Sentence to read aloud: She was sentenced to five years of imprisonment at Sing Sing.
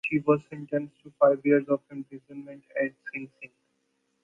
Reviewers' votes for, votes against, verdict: 1, 2, rejected